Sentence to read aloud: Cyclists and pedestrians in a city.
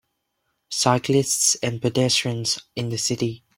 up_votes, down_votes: 0, 2